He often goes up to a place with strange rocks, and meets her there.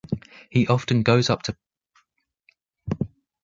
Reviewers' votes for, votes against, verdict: 0, 2, rejected